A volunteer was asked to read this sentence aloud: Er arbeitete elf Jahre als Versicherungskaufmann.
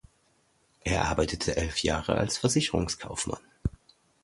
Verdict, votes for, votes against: accepted, 2, 0